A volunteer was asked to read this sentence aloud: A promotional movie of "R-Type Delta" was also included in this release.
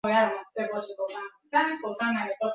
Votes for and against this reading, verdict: 0, 2, rejected